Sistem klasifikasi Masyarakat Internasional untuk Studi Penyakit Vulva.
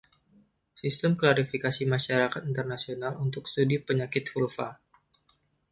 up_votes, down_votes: 2, 1